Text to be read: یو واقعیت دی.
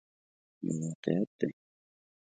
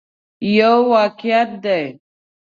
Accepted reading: second